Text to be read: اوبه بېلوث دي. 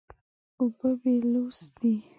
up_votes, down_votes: 2, 0